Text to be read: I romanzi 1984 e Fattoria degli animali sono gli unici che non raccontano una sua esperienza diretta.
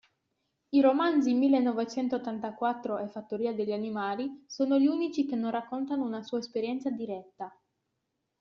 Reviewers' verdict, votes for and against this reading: rejected, 0, 2